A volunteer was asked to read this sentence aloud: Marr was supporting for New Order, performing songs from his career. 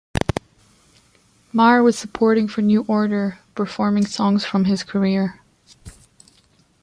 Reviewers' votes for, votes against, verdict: 2, 1, accepted